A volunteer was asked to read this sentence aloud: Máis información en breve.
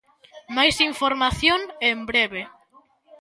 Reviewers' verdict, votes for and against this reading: accepted, 2, 0